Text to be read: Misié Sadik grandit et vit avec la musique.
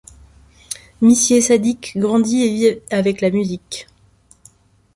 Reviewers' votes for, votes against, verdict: 2, 1, accepted